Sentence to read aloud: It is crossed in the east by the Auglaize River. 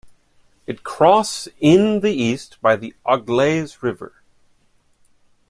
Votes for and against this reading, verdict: 0, 2, rejected